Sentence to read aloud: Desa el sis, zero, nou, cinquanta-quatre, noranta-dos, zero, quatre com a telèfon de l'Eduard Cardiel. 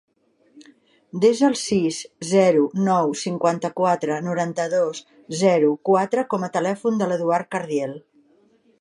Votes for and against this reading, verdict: 3, 0, accepted